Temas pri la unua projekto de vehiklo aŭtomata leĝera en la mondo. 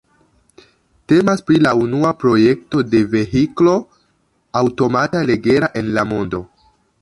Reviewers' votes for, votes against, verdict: 0, 2, rejected